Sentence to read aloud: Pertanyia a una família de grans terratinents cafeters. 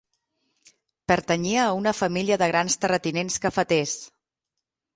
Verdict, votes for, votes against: accepted, 6, 0